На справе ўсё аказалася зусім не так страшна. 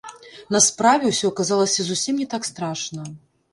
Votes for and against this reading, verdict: 0, 3, rejected